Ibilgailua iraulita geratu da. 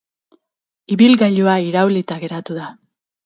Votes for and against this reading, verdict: 6, 0, accepted